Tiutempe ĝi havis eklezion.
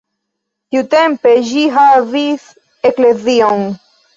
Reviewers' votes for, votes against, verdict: 2, 0, accepted